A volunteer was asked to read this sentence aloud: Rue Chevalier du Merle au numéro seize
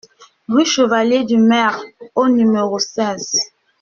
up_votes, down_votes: 2, 0